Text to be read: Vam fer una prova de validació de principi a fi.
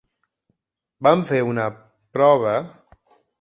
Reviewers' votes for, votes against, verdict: 1, 2, rejected